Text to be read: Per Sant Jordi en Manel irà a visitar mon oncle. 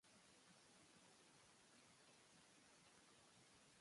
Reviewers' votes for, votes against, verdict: 0, 2, rejected